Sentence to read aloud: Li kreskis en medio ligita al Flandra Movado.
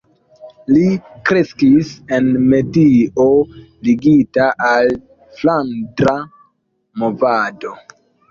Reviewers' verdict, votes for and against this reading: accepted, 2, 1